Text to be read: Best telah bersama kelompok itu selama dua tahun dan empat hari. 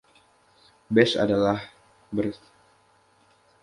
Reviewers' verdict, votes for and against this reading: rejected, 0, 2